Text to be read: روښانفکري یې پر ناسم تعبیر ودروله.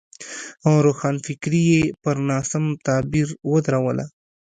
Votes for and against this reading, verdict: 2, 0, accepted